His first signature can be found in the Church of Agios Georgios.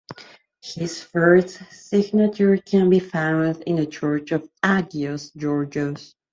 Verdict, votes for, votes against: rejected, 0, 2